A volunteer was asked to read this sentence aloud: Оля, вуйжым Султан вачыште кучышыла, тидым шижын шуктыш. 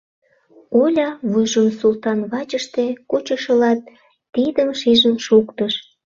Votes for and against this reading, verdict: 2, 0, accepted